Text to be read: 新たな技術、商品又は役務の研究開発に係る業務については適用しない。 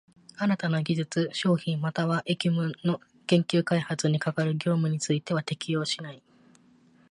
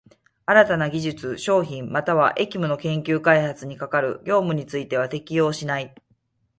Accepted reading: first